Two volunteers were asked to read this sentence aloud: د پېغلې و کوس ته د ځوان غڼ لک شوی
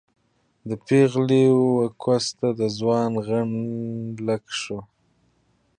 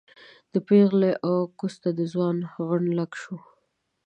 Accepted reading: second